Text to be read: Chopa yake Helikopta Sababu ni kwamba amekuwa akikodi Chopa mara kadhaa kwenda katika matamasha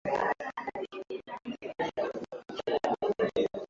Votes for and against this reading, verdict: 0, 2, rejected